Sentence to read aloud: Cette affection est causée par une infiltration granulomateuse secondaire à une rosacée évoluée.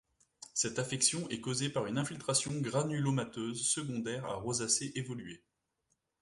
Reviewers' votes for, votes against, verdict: 1, 2, rejected